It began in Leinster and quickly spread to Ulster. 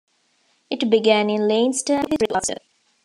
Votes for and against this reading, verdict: 0, 2, rejected